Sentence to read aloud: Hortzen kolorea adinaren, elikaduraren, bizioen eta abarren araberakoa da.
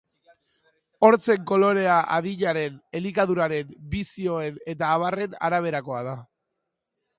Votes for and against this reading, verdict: 2, 0, accepted